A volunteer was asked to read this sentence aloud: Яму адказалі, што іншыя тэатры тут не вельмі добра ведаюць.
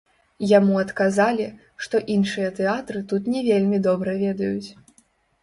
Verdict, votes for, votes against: rejected, 1, 2